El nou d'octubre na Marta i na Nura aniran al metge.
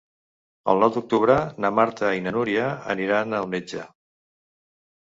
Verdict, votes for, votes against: rejected, 1, 2